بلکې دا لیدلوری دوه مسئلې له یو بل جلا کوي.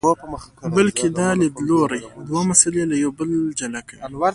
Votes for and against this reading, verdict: 2, 1, accepted